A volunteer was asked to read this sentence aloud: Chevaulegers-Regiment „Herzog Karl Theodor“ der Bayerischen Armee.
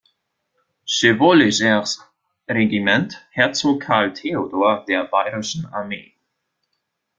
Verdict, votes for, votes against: rejected, 0, 2